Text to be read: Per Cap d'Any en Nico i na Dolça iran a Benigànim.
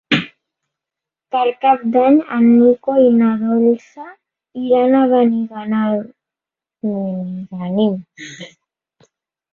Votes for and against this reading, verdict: 0, 2, rejected